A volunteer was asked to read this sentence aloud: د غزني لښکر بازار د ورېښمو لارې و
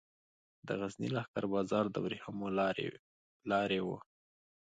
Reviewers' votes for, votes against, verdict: 2, 0, accepted